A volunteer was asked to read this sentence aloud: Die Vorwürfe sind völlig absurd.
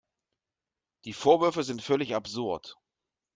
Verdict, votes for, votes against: accepted, 2, 0